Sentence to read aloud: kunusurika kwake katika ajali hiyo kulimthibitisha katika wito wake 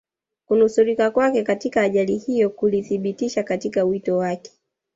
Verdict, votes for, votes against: rejected, 1, 2